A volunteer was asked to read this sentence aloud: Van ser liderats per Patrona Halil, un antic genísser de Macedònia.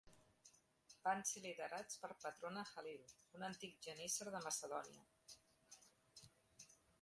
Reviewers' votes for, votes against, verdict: 2, 0, accepted